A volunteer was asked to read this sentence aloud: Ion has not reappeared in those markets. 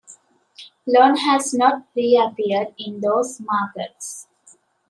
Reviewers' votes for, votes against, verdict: 1, 2, rejected